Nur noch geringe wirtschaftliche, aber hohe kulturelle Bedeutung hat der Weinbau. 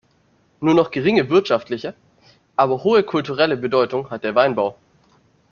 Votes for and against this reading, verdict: 2, 0, accepted